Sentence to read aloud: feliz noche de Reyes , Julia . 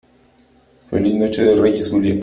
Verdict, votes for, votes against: accepted, 2, 1